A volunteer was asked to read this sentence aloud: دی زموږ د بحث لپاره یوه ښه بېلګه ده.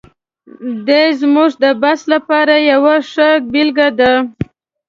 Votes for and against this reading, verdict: 2, 0, accepted